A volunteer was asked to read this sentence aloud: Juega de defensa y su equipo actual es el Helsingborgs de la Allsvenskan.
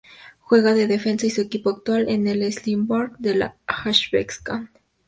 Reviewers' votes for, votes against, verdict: 0, 2, rejected